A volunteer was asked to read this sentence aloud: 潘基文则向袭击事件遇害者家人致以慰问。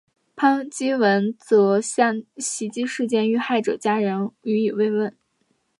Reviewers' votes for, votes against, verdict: 4, 1, accepted